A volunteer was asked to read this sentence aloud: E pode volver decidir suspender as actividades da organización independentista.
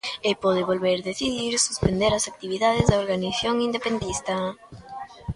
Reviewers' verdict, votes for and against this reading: rejected, 0, 2